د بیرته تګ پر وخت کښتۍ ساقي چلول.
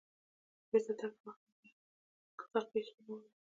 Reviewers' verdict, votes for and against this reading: rejected, 0, 2